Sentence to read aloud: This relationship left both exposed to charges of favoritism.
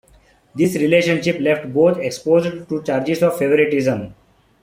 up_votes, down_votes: 0, 2